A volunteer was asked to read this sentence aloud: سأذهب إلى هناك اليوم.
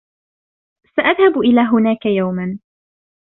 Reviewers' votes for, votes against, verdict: 2, 0, accepted